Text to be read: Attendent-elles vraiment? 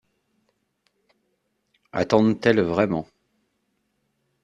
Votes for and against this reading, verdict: 2, 0, accepted